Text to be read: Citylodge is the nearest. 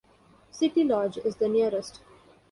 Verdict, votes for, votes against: accepted, 2, 0